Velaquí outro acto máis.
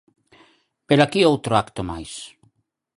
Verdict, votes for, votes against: accepted, 4, 0